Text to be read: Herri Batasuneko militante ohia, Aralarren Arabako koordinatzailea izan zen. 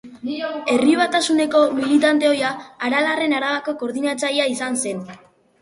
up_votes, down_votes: 0, 2